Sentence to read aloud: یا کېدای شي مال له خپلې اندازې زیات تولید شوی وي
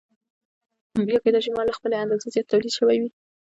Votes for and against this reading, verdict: 1, 2, rejected